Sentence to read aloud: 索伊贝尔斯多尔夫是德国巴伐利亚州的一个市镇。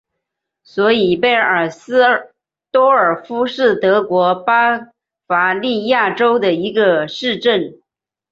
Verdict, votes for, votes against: accepted, 2, 0